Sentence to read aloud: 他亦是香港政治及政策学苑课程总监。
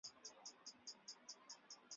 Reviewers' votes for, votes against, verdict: 0, 3, rejected